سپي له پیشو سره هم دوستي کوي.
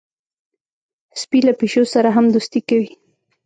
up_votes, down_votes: 1, 2